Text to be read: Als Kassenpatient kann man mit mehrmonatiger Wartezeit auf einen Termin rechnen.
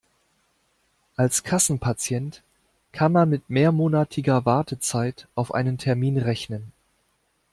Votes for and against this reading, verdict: 2, 0, accepted